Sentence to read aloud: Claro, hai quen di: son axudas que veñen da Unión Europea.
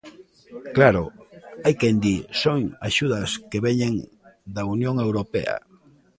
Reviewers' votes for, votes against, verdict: 1, 2, rejected